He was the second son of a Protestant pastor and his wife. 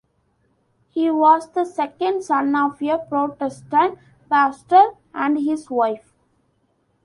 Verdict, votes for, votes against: accepted, 2, 1